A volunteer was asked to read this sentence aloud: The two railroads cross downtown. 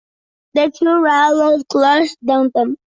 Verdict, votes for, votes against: accepted, 2, 0